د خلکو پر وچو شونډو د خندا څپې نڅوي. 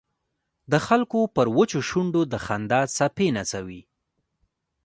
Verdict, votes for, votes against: rejected, 0, 2